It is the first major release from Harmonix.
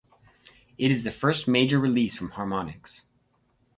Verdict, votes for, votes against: rejected, 2, 2